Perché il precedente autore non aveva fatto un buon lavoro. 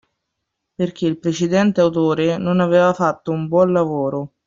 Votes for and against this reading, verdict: 2, 0, accepted